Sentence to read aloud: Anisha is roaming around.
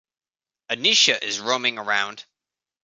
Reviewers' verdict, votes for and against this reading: accepted, 2, 0